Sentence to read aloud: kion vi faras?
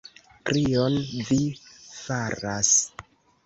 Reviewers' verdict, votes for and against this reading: rejected, 2, 3